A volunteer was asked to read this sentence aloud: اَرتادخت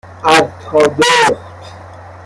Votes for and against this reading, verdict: 0, 2, rejected